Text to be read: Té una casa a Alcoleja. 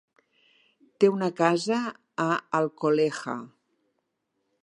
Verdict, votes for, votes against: rejected, 0, 3